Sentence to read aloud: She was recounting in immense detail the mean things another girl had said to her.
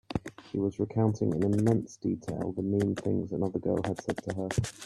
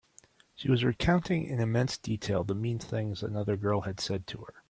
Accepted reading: second